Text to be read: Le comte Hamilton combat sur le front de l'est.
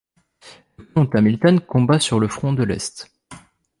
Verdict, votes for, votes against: rejected, 1, 2